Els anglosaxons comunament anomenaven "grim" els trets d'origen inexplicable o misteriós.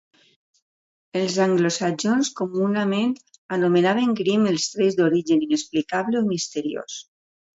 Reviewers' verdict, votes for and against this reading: accepted, 2, 0